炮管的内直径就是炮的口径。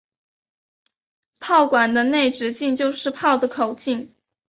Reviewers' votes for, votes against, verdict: 10, 0, accepted